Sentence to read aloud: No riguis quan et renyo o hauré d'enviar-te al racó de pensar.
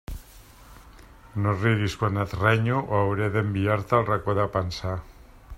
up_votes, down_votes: 2, 0